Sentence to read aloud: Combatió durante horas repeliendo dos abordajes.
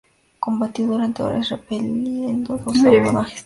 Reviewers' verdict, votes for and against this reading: rejected, 0, 2